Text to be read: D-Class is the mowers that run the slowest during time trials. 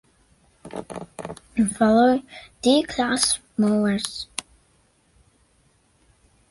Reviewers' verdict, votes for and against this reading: rejected, 0, 2